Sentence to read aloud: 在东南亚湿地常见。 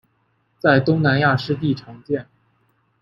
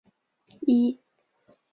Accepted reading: first